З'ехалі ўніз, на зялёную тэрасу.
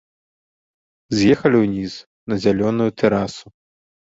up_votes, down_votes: 2, 0